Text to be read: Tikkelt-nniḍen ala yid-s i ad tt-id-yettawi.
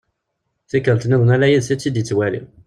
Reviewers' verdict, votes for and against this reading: rejected, 0, 2